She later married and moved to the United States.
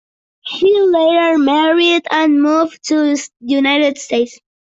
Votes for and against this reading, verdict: 2, 1, accepted